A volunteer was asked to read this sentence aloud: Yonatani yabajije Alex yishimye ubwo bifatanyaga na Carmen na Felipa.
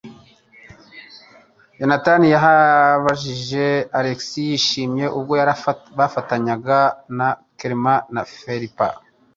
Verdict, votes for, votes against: rejected, 1, 2